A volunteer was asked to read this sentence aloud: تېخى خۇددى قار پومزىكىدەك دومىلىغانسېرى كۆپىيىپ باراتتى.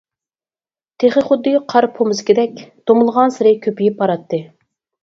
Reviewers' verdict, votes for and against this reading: accepted, 4, 0